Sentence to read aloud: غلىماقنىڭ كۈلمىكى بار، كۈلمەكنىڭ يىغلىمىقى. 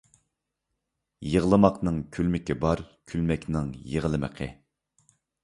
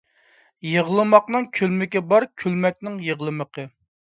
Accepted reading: second